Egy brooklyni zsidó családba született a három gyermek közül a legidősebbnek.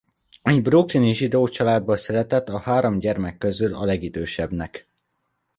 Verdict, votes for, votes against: accepted, 2, 0